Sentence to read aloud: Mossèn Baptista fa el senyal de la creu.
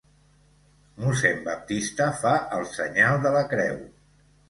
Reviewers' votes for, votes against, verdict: 2, 0, accepted